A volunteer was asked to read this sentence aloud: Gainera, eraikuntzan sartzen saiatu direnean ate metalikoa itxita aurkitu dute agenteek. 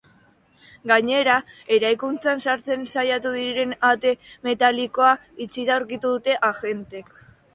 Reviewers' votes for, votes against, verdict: 2, 0, accepted